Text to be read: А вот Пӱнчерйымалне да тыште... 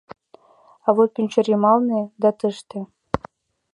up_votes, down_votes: 2, 0